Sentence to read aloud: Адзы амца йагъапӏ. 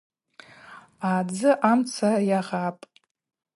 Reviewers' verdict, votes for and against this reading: accepted, 4, 0